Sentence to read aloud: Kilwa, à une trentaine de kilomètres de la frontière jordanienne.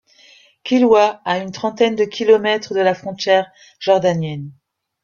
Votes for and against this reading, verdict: 2, 0, accepted